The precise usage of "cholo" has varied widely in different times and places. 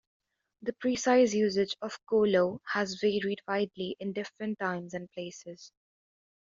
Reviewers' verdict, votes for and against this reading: rejected, 1, 2